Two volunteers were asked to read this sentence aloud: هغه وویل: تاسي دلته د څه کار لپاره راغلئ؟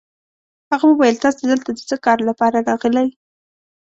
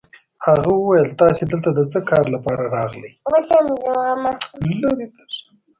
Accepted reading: first